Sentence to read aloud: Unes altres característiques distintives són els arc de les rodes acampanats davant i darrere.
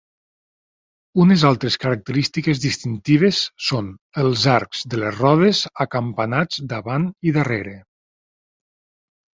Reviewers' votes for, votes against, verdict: 2, 0, accepted